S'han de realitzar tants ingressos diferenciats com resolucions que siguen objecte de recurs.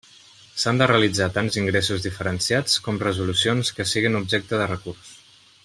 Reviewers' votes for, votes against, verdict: 2, 0, accepted